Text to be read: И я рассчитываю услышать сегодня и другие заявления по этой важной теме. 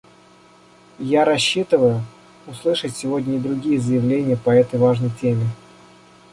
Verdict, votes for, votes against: rejected, 0, 2